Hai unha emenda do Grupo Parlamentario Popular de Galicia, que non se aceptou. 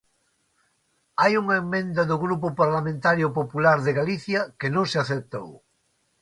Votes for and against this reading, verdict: 1, 2, rejected